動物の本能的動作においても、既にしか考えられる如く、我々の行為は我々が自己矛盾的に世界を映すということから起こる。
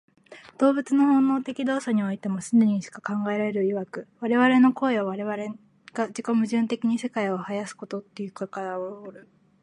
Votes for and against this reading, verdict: 0, 2, rejected